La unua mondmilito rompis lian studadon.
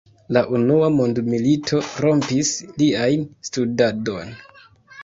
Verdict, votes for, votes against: accepted, 2, 0